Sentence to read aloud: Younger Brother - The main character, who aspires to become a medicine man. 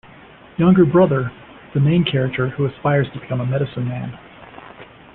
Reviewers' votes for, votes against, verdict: 2, 0, accepted